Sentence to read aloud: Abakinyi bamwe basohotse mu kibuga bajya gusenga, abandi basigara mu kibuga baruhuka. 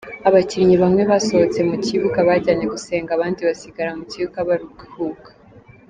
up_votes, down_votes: 0, 3